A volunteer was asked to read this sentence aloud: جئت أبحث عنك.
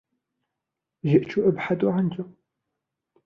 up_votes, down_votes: 1, 2